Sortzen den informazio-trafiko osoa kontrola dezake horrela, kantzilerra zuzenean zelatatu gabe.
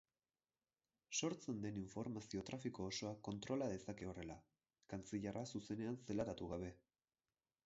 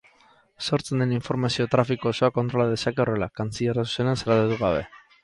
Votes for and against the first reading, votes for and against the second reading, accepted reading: 4, 0, 4, 6, first